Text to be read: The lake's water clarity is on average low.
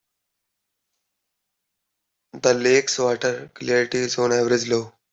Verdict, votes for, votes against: rejected, 1, 2